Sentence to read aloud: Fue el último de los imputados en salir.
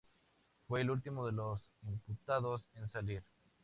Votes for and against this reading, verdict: 2, 0, accepted